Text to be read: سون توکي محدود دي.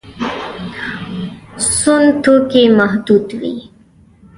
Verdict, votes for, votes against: rejected, 0, 3